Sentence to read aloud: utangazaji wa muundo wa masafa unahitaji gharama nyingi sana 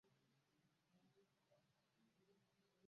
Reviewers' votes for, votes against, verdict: 0, 3, rejected